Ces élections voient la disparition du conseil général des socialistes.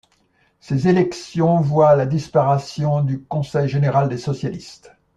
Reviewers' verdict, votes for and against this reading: rejected, 0, 2